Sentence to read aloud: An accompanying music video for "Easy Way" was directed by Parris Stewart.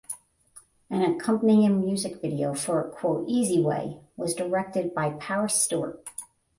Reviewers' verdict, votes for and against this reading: rejected, 0, 10